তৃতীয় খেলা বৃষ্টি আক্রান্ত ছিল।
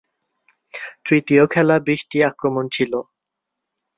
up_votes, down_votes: 1, 2